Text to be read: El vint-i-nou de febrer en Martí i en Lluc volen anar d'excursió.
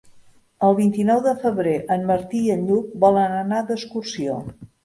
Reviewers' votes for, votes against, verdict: 3, 0, accepted